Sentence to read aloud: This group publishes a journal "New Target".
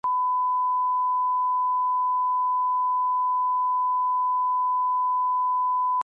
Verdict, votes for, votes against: rejected, 0, 2